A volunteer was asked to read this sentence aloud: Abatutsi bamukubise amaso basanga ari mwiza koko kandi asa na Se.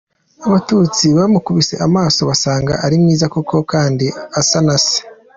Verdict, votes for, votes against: accepted, 2, 0